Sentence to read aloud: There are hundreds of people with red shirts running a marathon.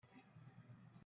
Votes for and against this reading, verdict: 0, 2, rejected